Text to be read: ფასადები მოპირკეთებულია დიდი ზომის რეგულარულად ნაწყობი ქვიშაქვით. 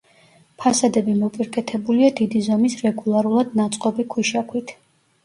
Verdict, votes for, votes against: accepted, 2, 0